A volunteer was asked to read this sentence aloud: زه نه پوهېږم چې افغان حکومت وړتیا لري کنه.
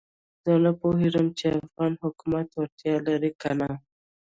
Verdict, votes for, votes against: accepted, 2, 0